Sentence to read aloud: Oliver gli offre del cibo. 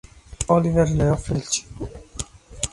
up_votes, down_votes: 1, 2